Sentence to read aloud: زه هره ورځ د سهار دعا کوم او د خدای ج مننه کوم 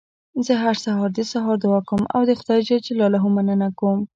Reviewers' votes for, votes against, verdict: 2, 0, accepted